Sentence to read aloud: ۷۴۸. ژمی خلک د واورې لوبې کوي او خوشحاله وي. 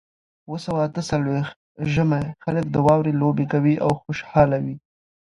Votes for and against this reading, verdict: 0, 2, rejected